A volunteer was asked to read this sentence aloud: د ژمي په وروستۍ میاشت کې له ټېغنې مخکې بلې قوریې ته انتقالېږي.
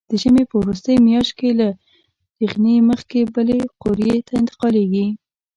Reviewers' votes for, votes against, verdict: 0, 2, rejected